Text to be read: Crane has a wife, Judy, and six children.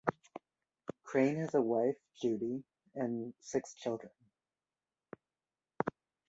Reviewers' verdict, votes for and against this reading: accepted, 2, 0